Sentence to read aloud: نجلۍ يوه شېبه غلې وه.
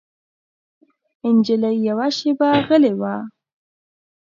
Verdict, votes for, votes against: accepted, 2, 0